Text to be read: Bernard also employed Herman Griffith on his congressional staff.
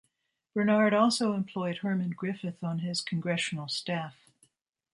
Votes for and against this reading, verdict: 2, 0, accepted